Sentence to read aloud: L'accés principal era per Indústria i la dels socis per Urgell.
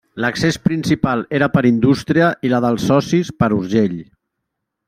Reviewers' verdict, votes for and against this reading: accepted, 3, 0